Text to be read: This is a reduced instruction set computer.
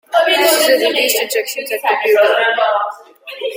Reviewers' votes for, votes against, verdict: 1, 2, rejected